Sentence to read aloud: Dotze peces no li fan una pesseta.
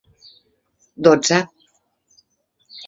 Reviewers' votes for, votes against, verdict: 0, 2, rejected